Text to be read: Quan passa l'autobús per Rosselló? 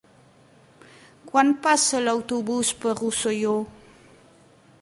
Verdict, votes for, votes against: accepted, 2, 0